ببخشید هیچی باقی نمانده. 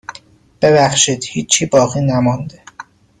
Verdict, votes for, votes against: accepted, 2, 0